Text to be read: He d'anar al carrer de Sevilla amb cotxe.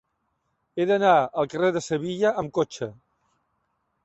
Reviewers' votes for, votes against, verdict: 3, 1, accepted